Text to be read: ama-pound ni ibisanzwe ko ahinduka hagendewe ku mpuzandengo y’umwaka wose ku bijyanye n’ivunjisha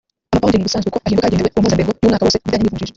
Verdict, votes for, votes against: rejected, 0, 3